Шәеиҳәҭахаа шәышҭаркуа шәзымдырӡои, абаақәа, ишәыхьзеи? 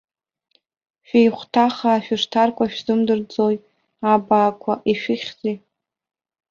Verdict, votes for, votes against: accepted, 4, 0